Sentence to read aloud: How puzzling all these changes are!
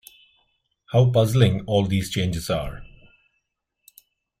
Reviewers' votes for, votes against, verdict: 2, 0, accepted